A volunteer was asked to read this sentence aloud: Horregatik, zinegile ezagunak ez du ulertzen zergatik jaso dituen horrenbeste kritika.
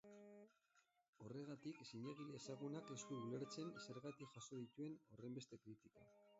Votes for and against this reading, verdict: 0, 2, rejected